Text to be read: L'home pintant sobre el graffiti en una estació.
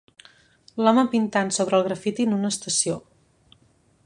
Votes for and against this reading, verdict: 2, 0, accepted